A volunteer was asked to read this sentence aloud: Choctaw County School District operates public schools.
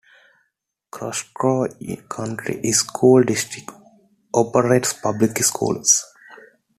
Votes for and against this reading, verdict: 0, 2, rejected